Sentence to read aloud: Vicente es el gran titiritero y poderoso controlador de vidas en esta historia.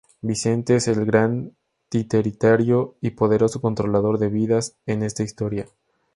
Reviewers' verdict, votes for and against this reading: rejected, 0, 2